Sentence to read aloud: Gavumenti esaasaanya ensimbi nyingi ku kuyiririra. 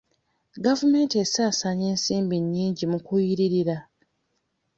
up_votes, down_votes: 1, 2